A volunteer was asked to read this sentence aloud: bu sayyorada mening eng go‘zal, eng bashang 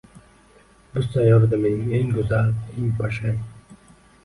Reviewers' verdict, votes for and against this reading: rejected, 1, 2